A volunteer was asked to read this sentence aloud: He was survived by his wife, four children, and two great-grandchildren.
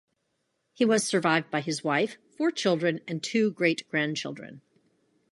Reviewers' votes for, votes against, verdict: 2, 0, accepted